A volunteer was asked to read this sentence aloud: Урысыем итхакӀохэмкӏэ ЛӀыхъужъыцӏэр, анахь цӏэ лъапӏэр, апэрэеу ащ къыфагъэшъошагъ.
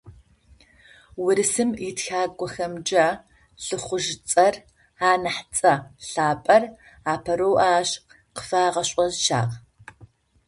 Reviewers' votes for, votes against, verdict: 0, 2, rejected